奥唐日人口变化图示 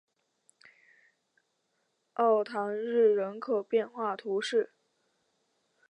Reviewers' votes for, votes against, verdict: 1, 3, rejected